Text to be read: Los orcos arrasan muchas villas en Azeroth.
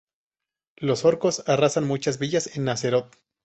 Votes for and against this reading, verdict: 2, 0, accepted